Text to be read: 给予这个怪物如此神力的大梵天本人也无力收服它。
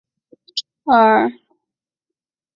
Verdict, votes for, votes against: rejected, 0, 3